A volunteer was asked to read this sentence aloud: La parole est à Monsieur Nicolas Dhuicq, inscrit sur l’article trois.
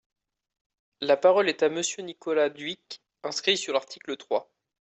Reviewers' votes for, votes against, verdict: 2, 0, accepted